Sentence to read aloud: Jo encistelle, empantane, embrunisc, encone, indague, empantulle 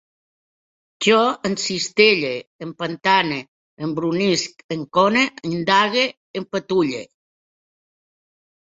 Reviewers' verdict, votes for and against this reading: rejected, 1, 3